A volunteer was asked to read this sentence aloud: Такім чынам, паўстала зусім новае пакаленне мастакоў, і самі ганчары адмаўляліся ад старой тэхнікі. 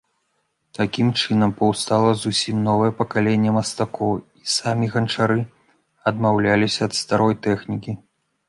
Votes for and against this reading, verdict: 2, 0, accepted